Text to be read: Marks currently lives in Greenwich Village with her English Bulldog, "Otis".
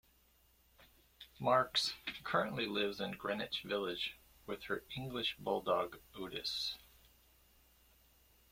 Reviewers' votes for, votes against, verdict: 1, 2, rejected